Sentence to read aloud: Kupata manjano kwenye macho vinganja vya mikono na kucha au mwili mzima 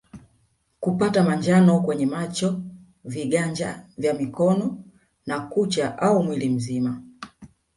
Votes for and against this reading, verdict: 1, 2, rejected